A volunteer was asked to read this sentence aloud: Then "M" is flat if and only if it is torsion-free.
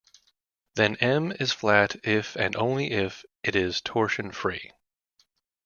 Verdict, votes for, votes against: accepted, 2, 0